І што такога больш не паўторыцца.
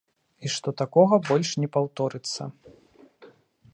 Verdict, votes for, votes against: accepted, 2, 0